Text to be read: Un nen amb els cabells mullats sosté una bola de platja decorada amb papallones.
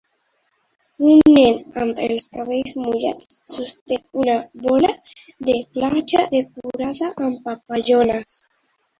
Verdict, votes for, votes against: rejected, 0, 2